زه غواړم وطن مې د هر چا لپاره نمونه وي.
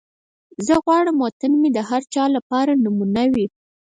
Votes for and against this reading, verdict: 2, 4, rejected